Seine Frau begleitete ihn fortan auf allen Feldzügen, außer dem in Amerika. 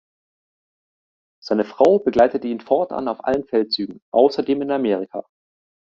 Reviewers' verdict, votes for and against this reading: accepted, 2, 0